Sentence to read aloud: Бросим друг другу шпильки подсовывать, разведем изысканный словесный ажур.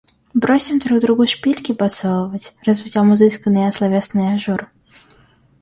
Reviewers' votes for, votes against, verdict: 0, 2, rejected